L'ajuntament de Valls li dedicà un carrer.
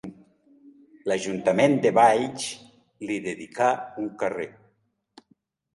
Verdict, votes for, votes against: accepted, 2, 0